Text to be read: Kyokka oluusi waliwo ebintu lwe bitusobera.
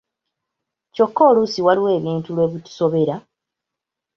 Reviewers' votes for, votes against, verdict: 2, 0, accepted